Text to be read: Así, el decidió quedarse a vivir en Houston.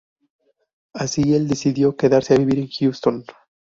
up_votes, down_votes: 0, 2